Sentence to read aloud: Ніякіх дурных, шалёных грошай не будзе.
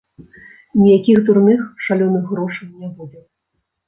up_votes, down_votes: 1, 2